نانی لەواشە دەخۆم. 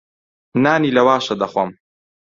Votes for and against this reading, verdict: 2, 0, accepted